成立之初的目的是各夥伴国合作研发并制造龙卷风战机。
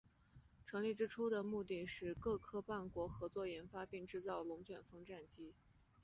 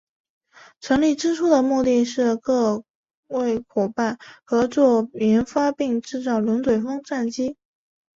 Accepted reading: first